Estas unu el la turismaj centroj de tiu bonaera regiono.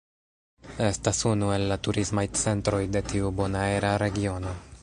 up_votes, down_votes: 0, 2